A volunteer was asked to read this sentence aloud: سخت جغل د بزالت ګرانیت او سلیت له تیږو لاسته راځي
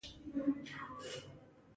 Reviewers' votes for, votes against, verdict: 1, 2, rejected